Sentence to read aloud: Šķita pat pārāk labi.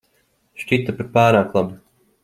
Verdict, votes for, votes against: accepted, 2, 0